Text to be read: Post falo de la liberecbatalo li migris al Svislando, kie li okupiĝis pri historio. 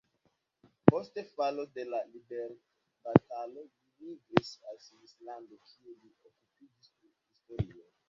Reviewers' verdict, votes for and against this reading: rejected, 1, 2